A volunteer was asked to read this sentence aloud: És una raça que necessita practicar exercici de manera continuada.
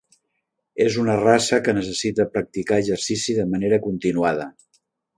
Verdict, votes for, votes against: accepted, 3, 0